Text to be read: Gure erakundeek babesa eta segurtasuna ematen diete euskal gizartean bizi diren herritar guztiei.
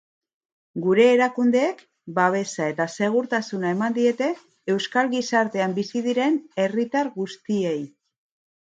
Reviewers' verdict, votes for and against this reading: rejected, 0, 2